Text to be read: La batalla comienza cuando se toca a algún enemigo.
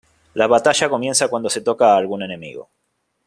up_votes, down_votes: 2, 0